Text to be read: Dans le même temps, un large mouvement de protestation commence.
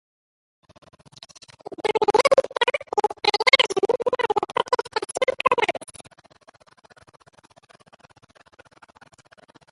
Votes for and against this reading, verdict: 0, 2, rejected